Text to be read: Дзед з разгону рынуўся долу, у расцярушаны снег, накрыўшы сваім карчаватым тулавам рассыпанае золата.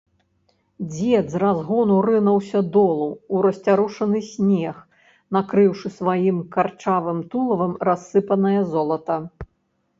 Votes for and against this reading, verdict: 1, 2, rejected